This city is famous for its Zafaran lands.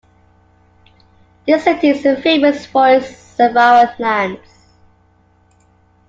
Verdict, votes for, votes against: accepted, 2, 1